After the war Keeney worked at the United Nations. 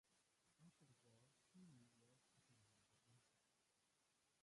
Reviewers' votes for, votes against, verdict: 1, 2, rejected